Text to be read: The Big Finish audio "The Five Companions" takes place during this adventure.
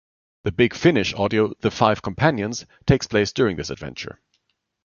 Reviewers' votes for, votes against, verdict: 2, 0, accepted